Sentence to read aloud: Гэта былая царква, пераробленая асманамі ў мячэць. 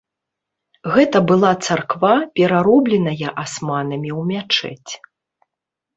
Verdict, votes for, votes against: rejected, 0, 2